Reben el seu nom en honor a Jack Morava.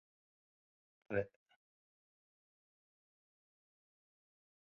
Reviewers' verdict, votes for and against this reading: rejected, 0, 2